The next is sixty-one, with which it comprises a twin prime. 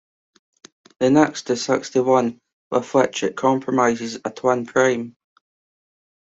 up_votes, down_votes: 2, 0